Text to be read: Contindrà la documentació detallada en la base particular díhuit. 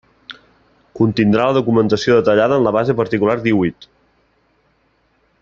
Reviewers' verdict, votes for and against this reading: accepted, 2, 0